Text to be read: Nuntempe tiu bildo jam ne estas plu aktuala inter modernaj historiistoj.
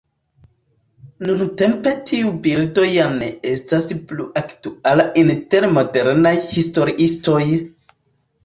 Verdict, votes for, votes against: rejected, 0, 2